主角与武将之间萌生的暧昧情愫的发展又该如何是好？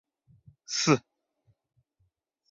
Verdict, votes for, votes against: rejected, 0, 2